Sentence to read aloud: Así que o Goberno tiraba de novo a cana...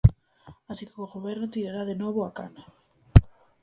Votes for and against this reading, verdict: 0, 4, rejected